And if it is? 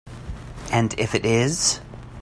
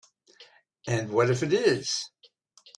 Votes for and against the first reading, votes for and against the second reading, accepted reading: 2, 0, 0, 2, first